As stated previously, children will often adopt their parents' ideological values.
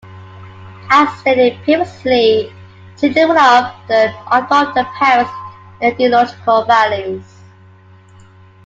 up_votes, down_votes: 2, 0